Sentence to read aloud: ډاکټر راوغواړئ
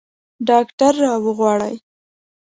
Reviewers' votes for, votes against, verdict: 3, 0, accepted